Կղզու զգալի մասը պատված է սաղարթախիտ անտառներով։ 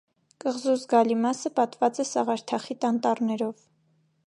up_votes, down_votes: 3, 0